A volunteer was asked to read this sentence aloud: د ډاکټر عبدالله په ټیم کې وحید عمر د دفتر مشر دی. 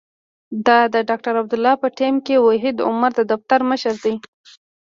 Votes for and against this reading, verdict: 0, 2, rejected